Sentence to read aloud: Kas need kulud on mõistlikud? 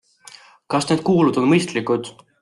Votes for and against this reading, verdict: 1, 2, rejected